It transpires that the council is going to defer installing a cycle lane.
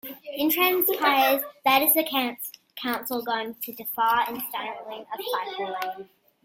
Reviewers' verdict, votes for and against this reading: rejected, 1, 2